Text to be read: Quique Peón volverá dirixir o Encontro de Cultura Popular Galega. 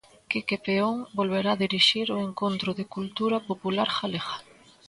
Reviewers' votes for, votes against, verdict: 2, 0, accepted